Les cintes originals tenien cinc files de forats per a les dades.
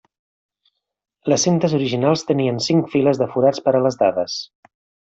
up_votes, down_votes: 3, 0